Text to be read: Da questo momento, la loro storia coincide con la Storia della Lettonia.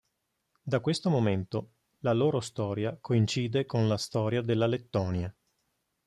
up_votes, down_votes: 2, 0